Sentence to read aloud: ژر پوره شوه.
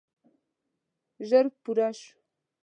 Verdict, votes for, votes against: rejected, 0, 2